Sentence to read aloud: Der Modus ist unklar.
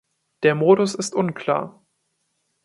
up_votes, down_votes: 2, 0